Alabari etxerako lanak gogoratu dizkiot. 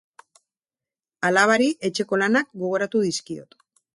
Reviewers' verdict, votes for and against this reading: rejected, 0, 2